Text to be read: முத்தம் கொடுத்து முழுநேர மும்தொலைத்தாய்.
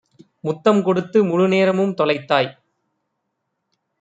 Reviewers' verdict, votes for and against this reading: accepted, 2, 0